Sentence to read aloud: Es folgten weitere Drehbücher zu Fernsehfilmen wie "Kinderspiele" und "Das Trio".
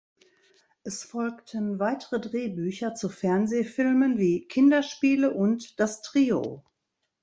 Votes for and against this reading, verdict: 2, 0, accepted